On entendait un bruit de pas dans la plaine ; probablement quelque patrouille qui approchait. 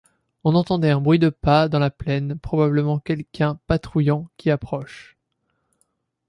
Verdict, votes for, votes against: rejected, 0, 2